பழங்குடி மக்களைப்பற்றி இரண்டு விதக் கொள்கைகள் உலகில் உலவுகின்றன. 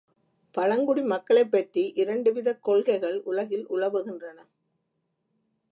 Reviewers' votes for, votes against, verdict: 1, 2, rejected